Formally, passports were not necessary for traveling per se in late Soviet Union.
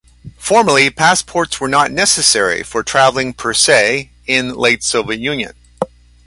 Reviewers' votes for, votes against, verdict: 2, 0, accepted